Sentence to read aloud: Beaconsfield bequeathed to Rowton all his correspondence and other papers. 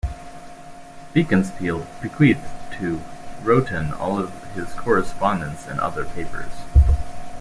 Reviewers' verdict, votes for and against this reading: rejected, 1, 2